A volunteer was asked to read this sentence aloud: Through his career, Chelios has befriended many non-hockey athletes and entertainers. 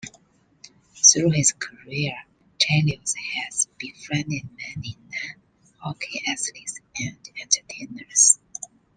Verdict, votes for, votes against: accepted, 2, 0